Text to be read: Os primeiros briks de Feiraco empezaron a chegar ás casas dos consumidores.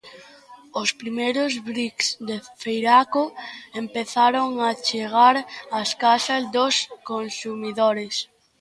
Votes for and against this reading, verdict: 2, 0, accepted